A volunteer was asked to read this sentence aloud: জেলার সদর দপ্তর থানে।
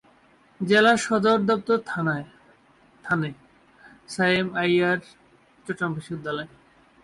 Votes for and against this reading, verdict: 0, 2, rejected